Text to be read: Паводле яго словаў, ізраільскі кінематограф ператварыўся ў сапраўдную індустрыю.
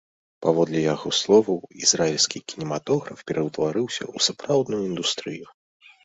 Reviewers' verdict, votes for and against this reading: rejected, 1, 2